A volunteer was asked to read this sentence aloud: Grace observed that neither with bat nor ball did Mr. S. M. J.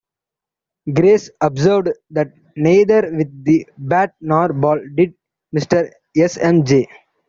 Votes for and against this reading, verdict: 0, 3, rejected